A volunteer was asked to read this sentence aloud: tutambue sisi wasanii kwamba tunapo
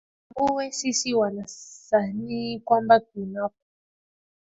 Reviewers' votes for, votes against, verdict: 1, 4, rejected